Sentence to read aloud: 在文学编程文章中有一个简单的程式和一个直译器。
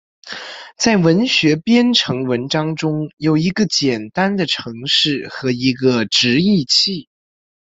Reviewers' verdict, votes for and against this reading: accepted, 2, 0